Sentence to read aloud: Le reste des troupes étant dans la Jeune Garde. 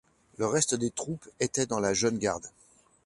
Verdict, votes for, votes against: rejected, 0, 2